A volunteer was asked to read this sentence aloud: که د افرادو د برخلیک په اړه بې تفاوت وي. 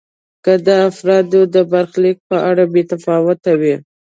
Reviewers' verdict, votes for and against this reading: accepted, 2, 0